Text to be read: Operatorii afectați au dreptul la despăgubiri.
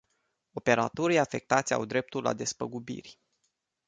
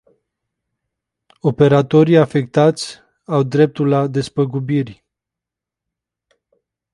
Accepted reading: first